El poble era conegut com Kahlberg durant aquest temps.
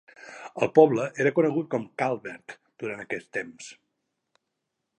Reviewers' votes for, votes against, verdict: 2, 0, accepted